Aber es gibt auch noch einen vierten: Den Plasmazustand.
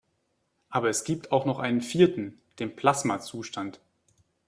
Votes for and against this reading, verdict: 2, 0, accepted